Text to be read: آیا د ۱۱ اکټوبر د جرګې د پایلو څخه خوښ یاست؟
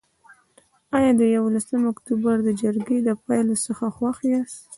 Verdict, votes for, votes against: rejected, 0, 2